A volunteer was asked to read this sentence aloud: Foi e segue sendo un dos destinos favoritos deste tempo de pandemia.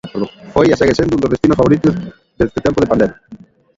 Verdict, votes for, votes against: rejected, 1, 2